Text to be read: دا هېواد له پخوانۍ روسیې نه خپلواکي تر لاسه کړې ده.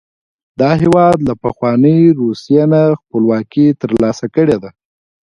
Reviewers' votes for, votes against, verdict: 0, 2, rejected